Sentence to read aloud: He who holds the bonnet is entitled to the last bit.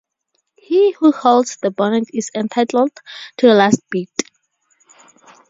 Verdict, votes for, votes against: rejected, 0, 2